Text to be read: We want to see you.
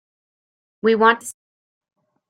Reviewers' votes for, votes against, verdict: 0, 2, rejected